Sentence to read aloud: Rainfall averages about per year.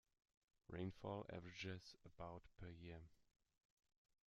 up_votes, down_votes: 1, 2